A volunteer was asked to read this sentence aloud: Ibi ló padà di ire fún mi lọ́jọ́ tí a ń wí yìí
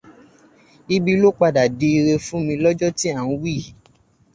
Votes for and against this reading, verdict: 2, 2, rejected